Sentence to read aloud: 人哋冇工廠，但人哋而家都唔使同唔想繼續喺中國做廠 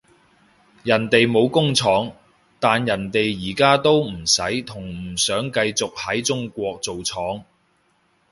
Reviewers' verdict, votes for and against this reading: accepted, 2, 0